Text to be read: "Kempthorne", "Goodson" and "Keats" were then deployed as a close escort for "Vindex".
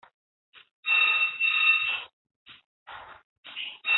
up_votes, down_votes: 0, 2